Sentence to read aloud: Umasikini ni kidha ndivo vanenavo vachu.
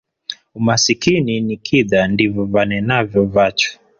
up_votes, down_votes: 1, 2